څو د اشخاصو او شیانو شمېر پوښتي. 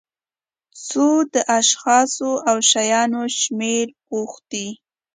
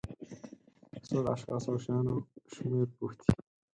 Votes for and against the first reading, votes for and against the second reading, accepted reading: 2, 0, 10, 12, first